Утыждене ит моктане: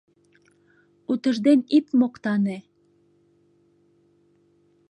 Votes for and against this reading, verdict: 1, 2, rejected